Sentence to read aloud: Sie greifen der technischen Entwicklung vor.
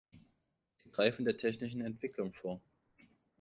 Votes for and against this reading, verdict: 1, 3, rejected